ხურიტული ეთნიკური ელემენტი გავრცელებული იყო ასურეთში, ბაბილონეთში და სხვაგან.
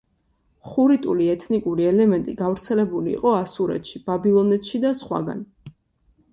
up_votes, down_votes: 3, 0